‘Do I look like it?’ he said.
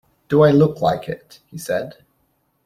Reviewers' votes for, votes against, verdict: 2, 0, accepted